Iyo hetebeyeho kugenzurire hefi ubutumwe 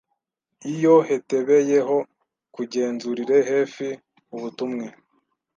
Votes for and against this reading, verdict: 1, 2, rejected